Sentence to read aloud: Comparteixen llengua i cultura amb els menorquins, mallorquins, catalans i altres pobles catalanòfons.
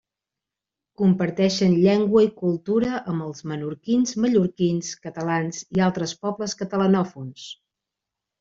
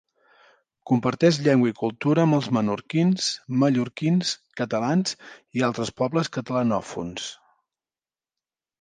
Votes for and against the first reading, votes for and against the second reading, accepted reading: 3, 0, 0, 2, first